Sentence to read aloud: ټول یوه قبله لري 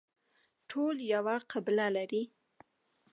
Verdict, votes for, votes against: accepted, 2, 0